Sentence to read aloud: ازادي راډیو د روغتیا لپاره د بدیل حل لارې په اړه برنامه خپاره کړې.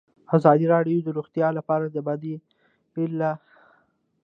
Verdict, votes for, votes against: rejected, 1, 2